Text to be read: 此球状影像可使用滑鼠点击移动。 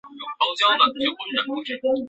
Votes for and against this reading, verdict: 0, 5, rejected